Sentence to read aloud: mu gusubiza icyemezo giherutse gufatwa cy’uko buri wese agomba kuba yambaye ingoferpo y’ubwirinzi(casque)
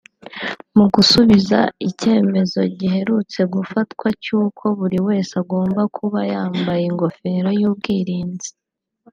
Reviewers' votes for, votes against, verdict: 2, 0, accepted